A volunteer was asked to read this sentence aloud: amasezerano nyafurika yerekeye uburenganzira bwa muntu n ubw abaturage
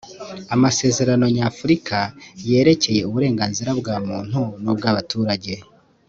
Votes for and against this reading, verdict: 2, 1, accepted